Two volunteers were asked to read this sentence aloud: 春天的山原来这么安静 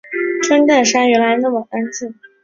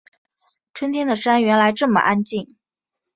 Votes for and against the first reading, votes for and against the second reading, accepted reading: 1, 2, 2, 0, second